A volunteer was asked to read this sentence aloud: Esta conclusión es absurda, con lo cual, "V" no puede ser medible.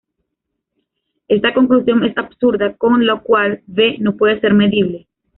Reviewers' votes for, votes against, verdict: 2, 0, accepted